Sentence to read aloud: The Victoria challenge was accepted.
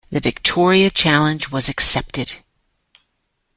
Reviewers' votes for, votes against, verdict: 2, 0, accepted